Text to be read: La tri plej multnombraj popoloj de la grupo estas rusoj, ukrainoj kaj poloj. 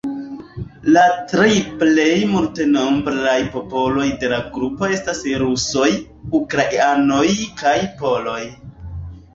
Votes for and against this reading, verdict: 3, 2, accepted